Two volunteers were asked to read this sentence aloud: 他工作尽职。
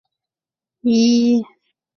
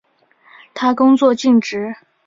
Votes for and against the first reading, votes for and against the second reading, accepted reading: 0, 2, 3, 0, second